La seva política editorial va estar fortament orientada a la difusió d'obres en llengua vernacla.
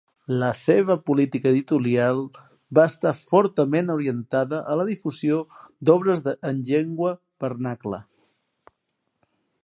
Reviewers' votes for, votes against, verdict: 0, 2, rejected